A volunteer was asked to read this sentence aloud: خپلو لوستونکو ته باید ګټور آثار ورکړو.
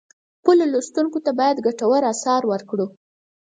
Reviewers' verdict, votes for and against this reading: accepted, 4, 0